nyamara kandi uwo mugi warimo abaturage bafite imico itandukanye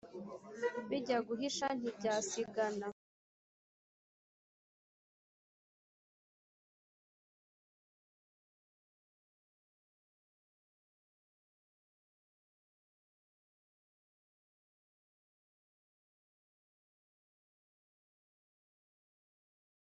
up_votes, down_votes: 1, 2